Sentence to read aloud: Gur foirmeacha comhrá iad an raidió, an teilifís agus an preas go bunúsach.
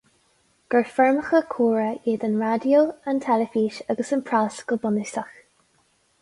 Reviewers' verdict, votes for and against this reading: rejected, 2, 2